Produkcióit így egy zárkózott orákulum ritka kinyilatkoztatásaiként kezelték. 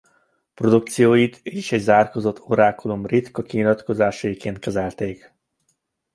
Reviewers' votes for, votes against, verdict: 0, 2, rejected